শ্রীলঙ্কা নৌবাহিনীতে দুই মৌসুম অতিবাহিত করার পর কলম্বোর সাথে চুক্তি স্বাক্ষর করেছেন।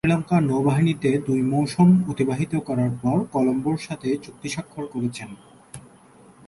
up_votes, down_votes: 0, 2